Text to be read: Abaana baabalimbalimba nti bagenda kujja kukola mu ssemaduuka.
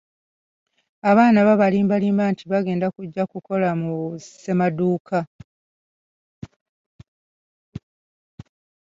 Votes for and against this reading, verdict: 0, 2, rejected